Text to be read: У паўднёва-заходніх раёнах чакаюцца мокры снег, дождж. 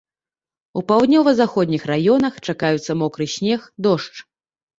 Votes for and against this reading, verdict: 2, 1, accepted